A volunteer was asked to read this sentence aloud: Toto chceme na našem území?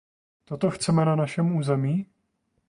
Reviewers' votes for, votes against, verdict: 2, 0, accepted